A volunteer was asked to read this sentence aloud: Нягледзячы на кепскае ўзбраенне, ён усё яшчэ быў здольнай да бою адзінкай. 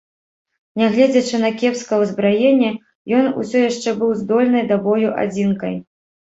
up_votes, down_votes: 2, 0